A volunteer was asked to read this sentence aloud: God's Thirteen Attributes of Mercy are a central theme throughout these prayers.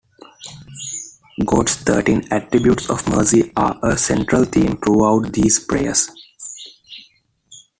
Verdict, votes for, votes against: accepted, 2, 1